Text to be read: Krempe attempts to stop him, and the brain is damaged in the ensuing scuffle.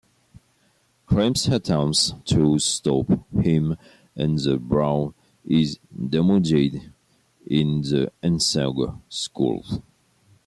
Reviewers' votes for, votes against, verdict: 1, 2, rejected